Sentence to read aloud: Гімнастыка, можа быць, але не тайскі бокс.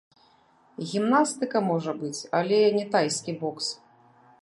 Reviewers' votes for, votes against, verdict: 1, 2, rejected